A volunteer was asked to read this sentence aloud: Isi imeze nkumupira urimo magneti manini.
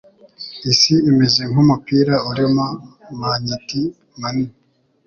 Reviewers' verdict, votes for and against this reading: accepted, 2, 0